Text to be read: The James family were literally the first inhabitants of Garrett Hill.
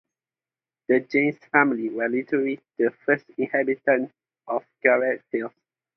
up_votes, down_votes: 2, 0